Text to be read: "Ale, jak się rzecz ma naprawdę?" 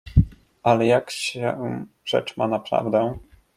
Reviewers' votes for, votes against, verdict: 1, 2, rejected